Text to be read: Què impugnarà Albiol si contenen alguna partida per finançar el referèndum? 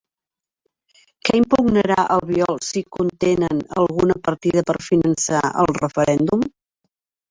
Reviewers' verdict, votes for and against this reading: rejected, 0, 2